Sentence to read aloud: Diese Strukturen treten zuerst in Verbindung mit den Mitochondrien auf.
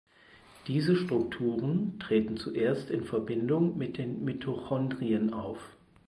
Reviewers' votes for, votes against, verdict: 4, 0, accepted